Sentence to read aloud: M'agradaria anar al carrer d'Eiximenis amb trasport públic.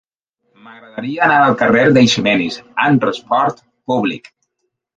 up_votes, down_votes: 1, 2